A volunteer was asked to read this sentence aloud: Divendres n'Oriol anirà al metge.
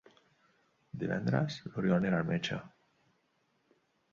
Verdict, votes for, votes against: rejected, 0, 2